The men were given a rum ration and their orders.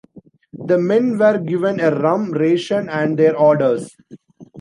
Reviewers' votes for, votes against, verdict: 2, 0, accepted